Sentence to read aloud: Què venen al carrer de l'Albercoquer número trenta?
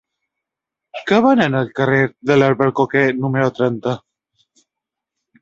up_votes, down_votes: 2, 0